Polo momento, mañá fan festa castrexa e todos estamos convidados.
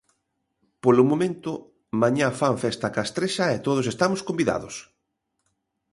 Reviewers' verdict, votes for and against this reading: accepted, 2, 0